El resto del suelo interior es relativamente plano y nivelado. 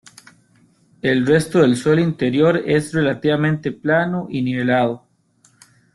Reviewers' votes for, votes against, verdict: 2, 0, accepted